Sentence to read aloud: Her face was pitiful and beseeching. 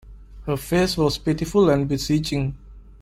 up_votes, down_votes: 2, 0